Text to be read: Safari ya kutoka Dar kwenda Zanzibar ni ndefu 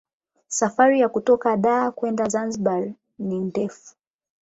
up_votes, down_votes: 8, 4